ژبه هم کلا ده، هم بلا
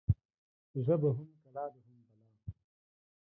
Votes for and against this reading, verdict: 1, 2, rejected